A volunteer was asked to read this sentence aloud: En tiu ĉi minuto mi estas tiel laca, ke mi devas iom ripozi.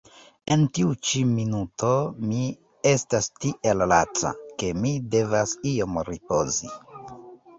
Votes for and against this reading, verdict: 1, 2, rejected